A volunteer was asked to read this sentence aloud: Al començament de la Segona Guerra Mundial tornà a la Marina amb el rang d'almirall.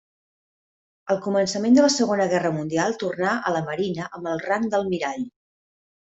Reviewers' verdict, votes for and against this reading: accepted, 3, 0